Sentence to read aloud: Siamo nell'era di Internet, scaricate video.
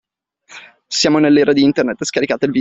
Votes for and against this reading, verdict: 1, 2, rejected